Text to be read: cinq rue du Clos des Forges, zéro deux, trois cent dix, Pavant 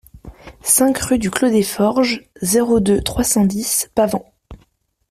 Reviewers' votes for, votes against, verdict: 2, 0, accepted